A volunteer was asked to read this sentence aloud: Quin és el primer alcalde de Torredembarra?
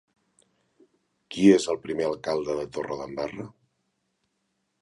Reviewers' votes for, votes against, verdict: 0, 2, rejected